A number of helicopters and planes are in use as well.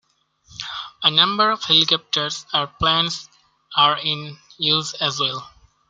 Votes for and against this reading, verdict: 2, 0, accepted